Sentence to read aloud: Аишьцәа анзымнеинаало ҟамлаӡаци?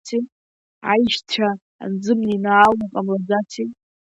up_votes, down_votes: 2, 0